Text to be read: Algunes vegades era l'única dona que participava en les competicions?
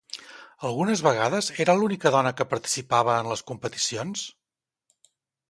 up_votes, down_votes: 2, 0